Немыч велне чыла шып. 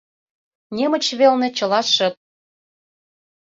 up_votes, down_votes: 2, 0